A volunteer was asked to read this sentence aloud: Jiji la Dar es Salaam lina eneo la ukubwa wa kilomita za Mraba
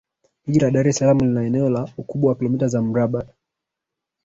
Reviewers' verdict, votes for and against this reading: rejected, 1, 2